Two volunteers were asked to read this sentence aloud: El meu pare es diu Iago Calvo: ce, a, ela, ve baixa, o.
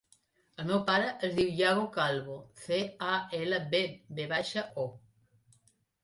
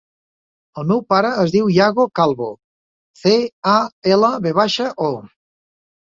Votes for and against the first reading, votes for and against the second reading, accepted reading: 0, 2, 2, 0, second